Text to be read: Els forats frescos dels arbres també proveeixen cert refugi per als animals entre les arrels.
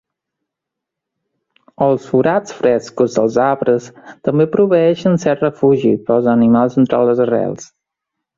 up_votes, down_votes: 1, 2